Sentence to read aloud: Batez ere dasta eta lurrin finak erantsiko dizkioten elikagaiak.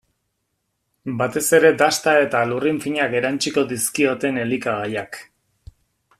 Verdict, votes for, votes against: accepted, 2, 0